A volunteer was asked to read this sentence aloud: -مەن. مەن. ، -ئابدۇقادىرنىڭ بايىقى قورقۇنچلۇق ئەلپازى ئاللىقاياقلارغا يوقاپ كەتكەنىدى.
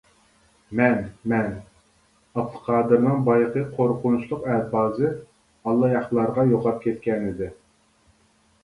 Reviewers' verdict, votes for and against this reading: rejected, 0, 2